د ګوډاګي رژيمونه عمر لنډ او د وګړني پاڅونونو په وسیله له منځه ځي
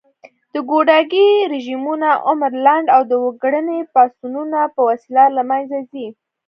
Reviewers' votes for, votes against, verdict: 2, 0, accepted